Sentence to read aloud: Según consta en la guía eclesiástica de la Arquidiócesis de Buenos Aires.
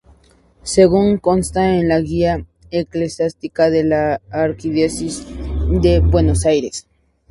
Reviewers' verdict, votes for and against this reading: rejected, 2, 2